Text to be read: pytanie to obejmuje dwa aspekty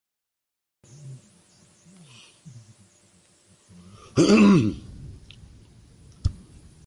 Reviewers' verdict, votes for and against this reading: rejected, 0, 2